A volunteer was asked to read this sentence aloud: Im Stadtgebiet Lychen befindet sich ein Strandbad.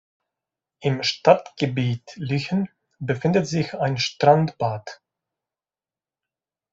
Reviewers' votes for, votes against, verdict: 2, 0, accepted